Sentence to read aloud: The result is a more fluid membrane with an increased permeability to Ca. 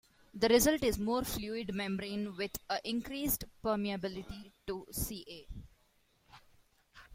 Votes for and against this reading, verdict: 1, 2, rejected